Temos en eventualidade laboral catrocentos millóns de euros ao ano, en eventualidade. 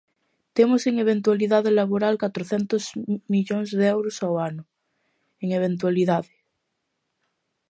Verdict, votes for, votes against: rejected, 1, 2